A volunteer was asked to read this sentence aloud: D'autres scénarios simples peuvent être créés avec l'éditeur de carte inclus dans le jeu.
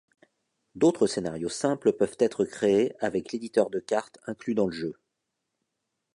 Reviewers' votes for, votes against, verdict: 2, 0, accepted